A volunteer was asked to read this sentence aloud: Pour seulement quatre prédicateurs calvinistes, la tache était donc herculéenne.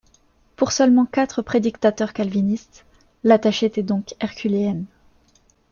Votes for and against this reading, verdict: 0, 2, rejected